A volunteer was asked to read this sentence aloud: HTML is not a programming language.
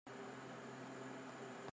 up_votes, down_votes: 0, 2